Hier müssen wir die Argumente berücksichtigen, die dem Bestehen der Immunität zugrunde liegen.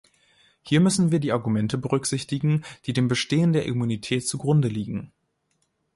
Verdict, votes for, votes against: accepted, 2, 0